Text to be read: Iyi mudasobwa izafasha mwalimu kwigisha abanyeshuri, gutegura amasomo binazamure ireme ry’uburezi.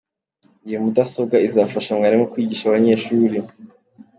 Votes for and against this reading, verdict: 0, 2, rejected